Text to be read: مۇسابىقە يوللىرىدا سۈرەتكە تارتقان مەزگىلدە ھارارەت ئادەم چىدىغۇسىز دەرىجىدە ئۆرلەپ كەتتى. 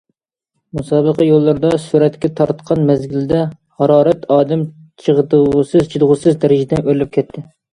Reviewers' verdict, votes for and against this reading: rejected, 0, 2